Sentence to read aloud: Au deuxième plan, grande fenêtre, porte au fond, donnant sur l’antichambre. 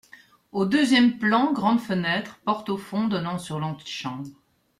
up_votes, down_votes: 2, 0